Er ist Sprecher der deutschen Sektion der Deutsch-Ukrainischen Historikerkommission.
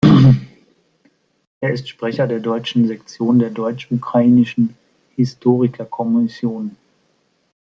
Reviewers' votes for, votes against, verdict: 1, 2, rejected